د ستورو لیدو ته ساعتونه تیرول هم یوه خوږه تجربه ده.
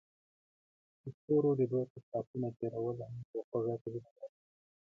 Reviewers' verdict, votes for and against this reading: rejected, 1, 2